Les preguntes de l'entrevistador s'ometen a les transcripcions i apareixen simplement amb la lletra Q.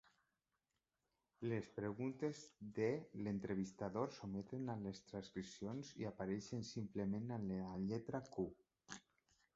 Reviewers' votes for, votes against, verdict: 4, 1, accepted